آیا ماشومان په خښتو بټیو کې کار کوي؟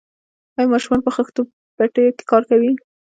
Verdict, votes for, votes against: rejected, 0, 2